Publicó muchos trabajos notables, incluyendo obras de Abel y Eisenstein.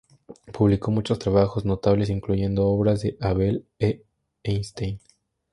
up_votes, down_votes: 0, 2